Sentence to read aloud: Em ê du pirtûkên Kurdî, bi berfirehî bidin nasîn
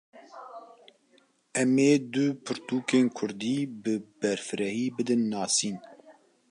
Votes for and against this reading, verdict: 2, 0, accepted